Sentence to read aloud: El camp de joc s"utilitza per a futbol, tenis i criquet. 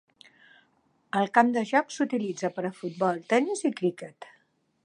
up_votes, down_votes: 2, 0